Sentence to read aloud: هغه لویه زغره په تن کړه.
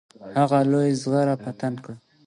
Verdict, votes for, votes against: accepted, 2, 0